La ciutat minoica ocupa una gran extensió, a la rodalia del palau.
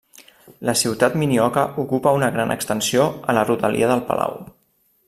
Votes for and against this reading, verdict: 1, 2, rejected